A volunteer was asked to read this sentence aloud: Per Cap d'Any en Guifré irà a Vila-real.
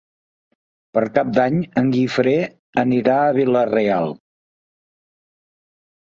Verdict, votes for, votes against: rejected, 1, 2